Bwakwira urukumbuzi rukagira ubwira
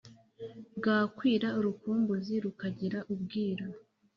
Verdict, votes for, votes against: accepted, 2, 0